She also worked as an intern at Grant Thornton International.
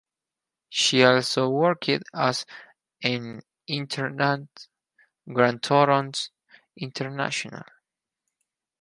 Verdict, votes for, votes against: rejected, 2, 2